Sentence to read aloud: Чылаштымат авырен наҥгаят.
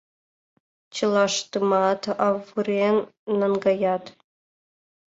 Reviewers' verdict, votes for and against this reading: accepted, 2, 0